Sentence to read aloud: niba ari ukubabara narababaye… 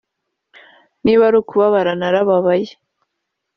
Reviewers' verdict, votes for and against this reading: accepted, 2, 1